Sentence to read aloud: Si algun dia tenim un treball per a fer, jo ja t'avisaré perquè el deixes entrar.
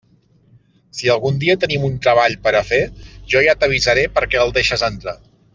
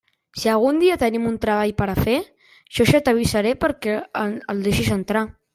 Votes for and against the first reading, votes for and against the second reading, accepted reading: 2, 0, 0, 2, first